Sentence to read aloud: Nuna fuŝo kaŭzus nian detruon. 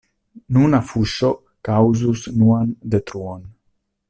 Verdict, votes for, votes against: rejected, 1, 2